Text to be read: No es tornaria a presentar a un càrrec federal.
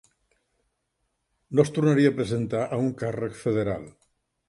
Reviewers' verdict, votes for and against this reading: accepted, 3, 0